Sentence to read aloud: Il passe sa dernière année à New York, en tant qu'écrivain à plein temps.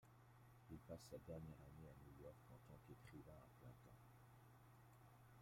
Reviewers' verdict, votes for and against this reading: rejected, 1, 2